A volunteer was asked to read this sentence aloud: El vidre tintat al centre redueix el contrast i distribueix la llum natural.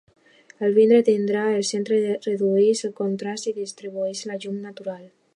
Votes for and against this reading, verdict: 1, 2, rejected